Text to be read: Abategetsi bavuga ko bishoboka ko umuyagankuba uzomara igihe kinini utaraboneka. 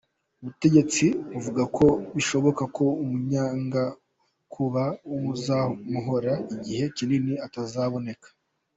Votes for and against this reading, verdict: 0, 2, rejected